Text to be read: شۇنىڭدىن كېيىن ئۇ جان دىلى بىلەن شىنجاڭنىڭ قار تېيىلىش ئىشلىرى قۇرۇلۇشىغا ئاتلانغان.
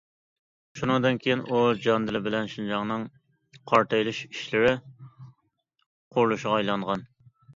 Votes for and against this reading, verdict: 0, 2, rejected